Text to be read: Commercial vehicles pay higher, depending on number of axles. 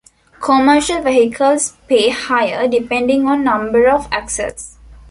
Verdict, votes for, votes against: accepted, 2, 1